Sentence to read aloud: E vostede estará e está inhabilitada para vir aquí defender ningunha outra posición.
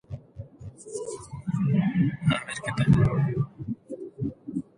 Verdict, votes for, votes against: rejected, 0, 2